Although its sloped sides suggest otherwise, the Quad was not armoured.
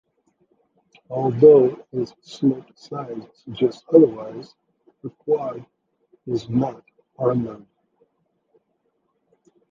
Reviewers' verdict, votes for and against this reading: rejected, 0, 2